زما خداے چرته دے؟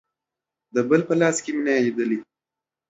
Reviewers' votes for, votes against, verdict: 0, 2, rejected